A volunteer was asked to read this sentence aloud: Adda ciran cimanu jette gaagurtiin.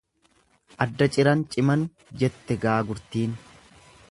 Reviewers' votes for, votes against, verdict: 1, 2, rejected